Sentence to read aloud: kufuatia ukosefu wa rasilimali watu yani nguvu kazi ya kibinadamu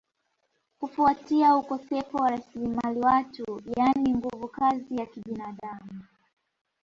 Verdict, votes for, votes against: accepted, 2, 0